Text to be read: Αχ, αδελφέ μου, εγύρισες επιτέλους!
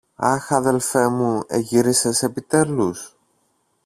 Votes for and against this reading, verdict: 1, 2, rejected